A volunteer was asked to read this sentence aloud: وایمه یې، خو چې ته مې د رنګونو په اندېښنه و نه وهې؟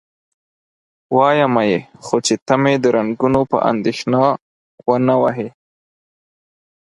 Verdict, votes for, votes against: accepted, 4, 0